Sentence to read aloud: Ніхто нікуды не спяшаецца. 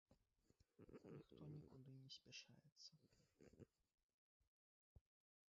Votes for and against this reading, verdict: 0, 2, rejected